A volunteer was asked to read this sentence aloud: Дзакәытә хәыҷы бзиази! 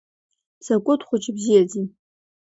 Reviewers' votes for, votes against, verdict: 2, 0, accepted